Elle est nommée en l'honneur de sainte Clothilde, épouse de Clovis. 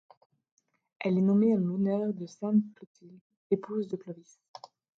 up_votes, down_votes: 1, 2